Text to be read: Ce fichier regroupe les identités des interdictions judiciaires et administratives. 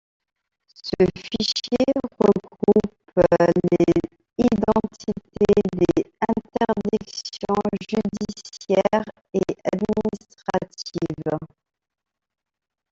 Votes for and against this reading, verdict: 1, 2, rejected